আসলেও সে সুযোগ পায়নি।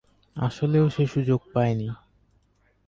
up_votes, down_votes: 4, 0